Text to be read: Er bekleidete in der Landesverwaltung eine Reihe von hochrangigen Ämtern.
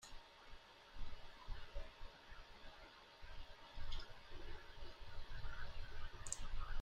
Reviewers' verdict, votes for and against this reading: rejected, 0, 2